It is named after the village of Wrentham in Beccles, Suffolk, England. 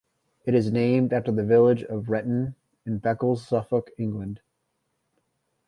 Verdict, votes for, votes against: accepted, 2, 0